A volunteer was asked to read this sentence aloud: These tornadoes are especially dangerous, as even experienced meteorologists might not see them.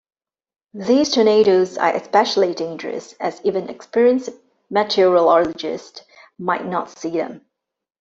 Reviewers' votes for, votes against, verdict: 1, 2, rejected